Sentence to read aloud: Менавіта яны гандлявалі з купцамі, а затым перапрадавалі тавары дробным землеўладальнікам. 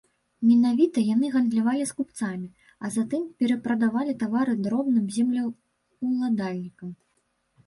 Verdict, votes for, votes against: accepted, 2, 0